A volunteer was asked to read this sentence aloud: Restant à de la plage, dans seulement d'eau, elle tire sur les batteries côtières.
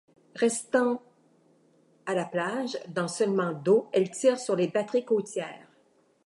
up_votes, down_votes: 1, 2